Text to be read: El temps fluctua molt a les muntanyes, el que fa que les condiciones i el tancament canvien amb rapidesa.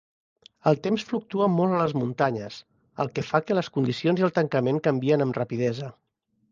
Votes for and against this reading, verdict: 2, 1, accepted